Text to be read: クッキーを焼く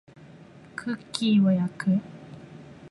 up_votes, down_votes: 4, 0